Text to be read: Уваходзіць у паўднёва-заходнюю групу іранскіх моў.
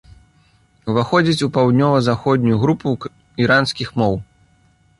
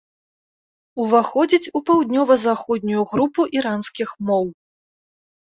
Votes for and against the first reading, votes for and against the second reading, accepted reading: 1, 2, 2, 0, second